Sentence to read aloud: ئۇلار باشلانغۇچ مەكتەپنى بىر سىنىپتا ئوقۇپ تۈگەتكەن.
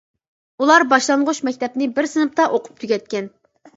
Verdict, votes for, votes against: accepted, 3, 0